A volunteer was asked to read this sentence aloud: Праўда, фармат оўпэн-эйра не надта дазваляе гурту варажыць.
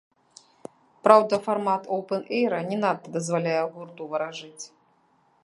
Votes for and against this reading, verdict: 1, 2, rejected